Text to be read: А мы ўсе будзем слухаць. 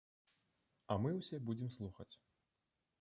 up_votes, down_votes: 2, 0